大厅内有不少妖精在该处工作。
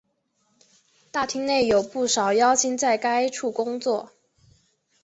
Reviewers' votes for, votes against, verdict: 5, 1, accepted